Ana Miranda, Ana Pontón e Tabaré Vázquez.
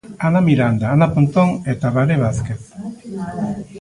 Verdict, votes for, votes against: rejected, 1, 2